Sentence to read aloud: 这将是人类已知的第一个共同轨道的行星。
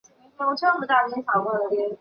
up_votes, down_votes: 0, 5